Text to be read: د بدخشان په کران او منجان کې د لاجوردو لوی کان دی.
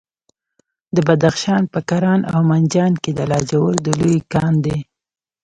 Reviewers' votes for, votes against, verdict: 1, 2, rejected